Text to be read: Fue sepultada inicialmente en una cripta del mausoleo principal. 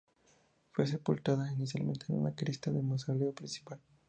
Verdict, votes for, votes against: accepted, 2, 0